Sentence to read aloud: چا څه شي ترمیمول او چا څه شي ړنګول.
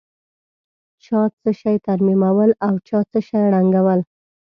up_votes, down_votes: 2, 0